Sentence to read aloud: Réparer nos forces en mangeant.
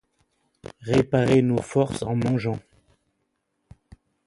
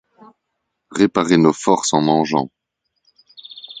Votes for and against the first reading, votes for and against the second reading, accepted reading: 1, 2, 2, 0, second